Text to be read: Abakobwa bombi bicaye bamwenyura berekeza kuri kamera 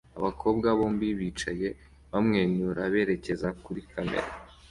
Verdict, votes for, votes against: accepted, 2, 0